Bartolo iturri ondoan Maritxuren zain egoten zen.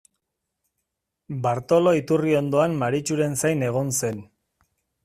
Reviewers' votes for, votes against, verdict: 0, 2, rejected